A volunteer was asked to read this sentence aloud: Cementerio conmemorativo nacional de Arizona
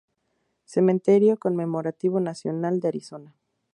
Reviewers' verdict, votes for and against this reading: accepted, 2, 0